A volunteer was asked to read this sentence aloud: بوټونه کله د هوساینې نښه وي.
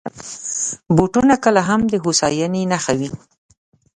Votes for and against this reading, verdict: 1, 2, rejected